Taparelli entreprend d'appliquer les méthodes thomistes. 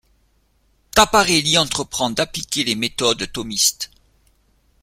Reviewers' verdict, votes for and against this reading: accepted, 2, 0